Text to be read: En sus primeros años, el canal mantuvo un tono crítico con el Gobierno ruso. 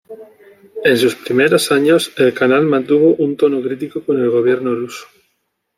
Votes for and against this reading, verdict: 2, 0, accepted